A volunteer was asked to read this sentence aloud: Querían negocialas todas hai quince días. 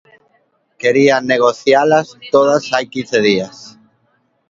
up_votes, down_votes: 2, 0